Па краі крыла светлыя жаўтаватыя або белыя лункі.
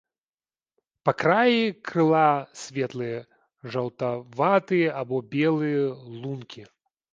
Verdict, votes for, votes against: rejected, 0, 2